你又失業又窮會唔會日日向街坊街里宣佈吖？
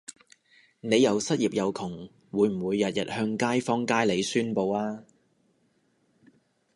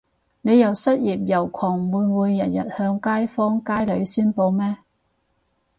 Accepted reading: first